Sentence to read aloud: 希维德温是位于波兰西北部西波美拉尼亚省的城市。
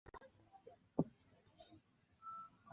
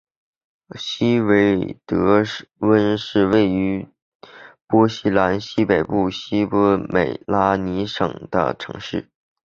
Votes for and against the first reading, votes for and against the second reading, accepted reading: 1, 2, 3, 0, second